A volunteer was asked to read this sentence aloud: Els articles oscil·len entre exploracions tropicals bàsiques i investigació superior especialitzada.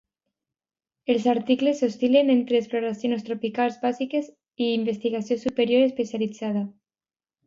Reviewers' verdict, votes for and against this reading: rejected, 1, 2